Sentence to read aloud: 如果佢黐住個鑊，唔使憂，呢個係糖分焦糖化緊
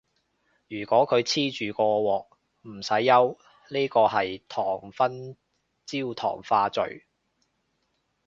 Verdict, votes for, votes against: rejected, 0, 2